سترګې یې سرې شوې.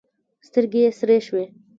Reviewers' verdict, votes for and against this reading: accepted, 2, 1